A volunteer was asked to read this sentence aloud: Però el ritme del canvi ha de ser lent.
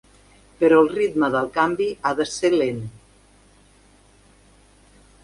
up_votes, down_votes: 3, 1